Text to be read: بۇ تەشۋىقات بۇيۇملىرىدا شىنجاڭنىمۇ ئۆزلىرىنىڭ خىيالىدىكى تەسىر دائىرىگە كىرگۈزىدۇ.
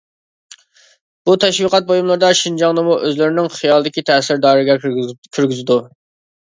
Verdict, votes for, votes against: rejected, 0, 2